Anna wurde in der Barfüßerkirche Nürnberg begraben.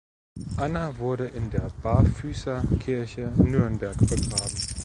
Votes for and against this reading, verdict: 2, 0, accepted